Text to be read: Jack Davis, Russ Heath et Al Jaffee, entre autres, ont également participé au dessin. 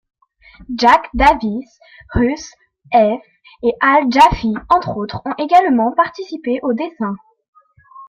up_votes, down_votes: 2, 0